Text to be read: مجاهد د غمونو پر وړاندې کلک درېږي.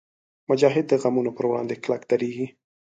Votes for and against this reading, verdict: 3, 0, accepted